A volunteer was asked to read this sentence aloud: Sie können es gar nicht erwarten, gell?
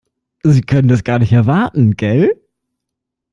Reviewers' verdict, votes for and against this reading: accepted, 2, 0